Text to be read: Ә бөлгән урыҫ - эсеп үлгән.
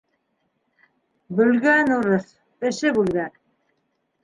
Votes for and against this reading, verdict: 1, 2, rejected